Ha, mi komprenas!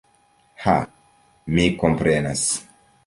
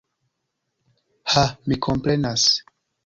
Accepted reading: first